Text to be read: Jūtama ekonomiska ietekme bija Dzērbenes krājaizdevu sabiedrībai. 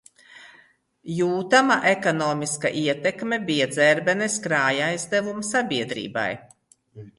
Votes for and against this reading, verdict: 2, 0, accepted